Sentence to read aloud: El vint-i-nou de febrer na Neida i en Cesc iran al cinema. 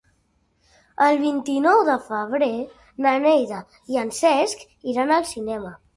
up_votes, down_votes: 3, 0